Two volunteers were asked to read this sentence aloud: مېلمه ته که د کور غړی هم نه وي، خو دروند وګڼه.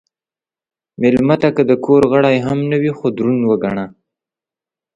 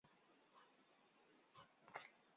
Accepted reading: first